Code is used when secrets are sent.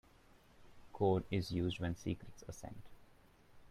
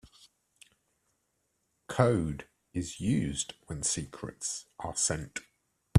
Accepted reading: second